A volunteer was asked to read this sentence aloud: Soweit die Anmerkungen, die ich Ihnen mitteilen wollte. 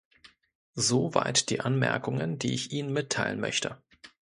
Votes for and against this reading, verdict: 0, 2, rejected